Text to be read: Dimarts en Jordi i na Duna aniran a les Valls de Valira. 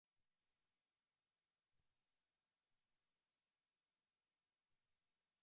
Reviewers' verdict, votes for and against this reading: rejected, 1, 2